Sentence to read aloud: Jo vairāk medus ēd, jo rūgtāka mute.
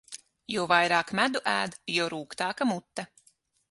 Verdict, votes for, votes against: rejected, 3, 6